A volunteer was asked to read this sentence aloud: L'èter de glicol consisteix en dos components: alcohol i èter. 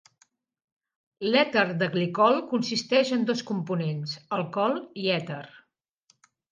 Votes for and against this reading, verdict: 3, 0, accepted